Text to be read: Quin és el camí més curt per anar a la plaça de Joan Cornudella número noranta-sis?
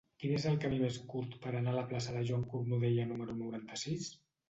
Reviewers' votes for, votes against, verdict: 2, 0, accepted